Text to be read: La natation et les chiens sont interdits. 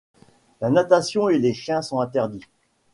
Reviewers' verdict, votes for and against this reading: accepted, 2, 0